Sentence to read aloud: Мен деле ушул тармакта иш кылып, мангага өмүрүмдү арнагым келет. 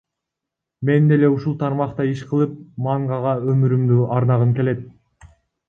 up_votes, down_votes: 0, 2